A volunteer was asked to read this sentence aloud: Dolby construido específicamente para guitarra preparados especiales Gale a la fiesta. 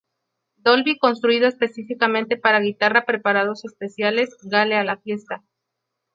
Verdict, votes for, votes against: accepted, 2, 0